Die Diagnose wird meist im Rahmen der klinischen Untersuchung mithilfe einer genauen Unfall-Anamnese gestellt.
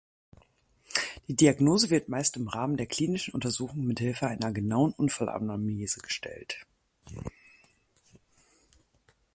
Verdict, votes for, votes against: rejected, 2, 4